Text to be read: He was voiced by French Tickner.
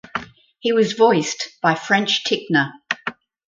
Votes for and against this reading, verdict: 4, 0, accepted